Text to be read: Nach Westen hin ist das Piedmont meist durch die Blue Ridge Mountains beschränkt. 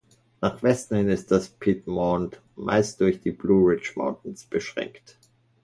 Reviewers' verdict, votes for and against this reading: accepted, 2, 0